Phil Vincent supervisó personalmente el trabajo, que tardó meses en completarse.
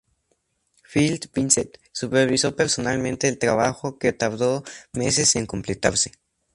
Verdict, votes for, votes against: accepted, 2, 0